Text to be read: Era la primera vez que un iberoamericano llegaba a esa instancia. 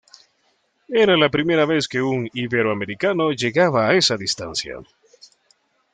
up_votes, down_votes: 0, 2